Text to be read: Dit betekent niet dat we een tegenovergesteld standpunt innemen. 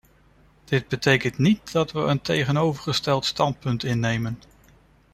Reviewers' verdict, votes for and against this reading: accepted, 2, 0